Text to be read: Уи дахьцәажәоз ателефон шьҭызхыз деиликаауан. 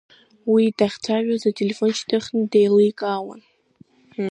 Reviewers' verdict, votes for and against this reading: rejected, 1, 2